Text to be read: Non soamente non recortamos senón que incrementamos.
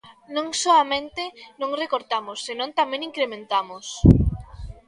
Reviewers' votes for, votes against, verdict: 0, 2, rejected